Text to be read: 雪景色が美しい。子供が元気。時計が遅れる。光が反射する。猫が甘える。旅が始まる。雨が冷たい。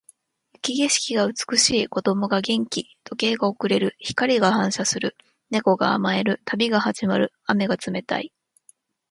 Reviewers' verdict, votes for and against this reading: rejected, 1, 2